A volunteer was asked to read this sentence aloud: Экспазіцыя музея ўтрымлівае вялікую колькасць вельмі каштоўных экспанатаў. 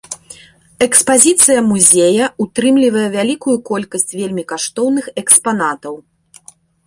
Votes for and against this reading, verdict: 2, 0, accepted